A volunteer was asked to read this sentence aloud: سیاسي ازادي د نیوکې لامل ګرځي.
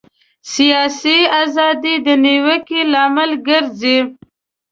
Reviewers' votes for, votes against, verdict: 2, 0, accepted